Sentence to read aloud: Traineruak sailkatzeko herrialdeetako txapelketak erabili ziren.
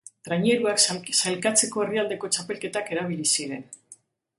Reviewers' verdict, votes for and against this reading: rejected, 1, 2